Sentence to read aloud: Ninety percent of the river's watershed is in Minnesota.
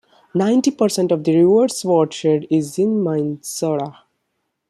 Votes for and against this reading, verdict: 0, 2, rejected